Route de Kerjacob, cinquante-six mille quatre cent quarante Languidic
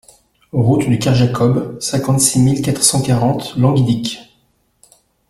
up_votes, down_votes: 2, 0